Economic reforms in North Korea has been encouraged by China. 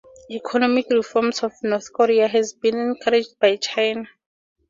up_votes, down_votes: 2, 0